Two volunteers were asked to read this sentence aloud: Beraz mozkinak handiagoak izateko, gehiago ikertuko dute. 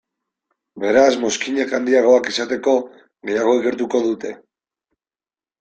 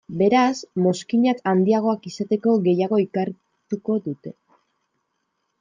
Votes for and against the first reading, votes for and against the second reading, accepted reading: 2, 0, 1, 2, first